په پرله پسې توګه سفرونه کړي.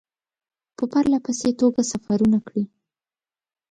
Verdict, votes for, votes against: accepted, 2, 0